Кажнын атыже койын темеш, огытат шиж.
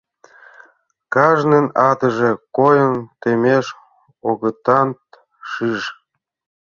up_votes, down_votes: 0, 2